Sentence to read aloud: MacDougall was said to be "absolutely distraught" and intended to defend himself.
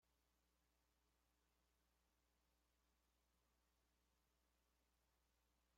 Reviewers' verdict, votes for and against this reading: rejected, 0, 2